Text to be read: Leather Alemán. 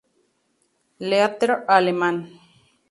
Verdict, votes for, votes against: rejected, 2, 2